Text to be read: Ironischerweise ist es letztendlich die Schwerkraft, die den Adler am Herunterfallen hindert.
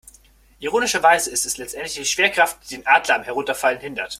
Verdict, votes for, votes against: accepted, 2, 0